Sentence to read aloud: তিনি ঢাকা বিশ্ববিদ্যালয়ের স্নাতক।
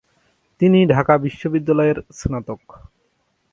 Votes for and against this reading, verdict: 2, 0, accepted